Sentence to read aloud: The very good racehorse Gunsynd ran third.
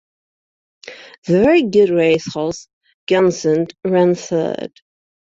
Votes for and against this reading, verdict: 2, 0, accepted